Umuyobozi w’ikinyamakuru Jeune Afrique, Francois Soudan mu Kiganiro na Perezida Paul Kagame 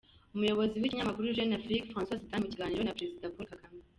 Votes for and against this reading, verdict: 1, 2, rejected